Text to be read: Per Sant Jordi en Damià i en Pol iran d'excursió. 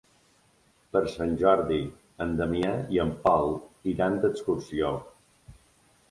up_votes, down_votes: 3, 0